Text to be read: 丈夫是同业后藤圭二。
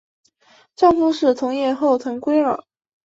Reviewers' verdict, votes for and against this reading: accepted, 3, 0